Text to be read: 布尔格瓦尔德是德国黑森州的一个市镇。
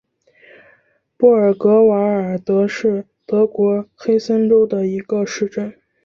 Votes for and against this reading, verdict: 4, 0, accepted